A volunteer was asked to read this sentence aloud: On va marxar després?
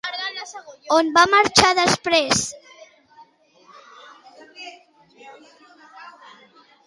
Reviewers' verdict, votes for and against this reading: accepted, 2, 1